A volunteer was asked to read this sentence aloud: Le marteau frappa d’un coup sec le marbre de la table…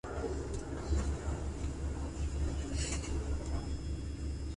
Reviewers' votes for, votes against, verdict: 0, 2, rejected